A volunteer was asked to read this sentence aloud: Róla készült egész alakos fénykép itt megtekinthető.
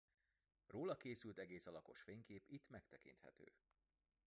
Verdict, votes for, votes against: rejected, 0, 2